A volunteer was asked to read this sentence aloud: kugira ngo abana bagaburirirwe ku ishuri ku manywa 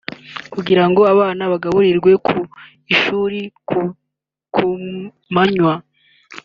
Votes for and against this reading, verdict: 1, 3, rejected